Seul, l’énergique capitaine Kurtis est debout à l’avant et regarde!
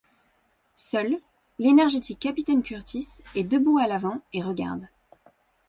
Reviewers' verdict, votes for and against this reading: rejected, 0, 2